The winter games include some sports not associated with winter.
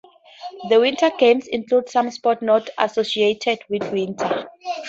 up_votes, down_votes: 0, 2